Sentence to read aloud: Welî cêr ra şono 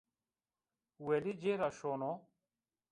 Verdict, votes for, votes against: accepted, 2, 0